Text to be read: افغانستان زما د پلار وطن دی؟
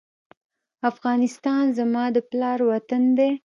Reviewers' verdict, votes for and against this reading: rejected, 1, 2